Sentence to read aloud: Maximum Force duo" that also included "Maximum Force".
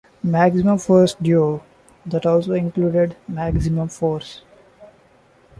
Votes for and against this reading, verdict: 2, 0, accepted